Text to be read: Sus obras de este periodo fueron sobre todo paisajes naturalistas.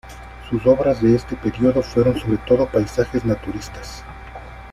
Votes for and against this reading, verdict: 0, 2, rejected